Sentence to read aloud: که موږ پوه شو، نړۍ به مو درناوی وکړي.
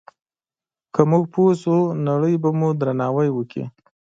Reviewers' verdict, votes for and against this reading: accepted, 2, 0